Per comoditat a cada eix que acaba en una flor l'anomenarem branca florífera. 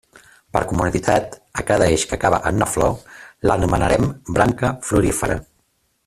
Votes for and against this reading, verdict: 2, 0, accepted